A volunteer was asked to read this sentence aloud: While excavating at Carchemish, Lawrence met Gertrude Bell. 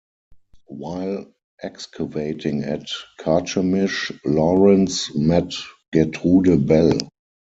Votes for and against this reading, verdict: 0, 4, rejected